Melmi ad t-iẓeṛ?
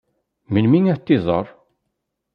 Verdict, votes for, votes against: rejected, 1, 2